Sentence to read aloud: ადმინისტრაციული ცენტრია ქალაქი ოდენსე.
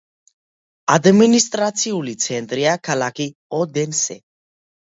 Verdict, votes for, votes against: accepted, 2, 0